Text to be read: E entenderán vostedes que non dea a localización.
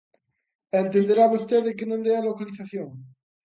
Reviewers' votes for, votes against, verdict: 0, 2, rejected